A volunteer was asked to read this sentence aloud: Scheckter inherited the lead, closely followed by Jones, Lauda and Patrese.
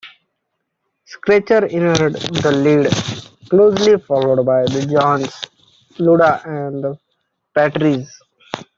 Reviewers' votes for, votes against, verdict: 0, 2, rejected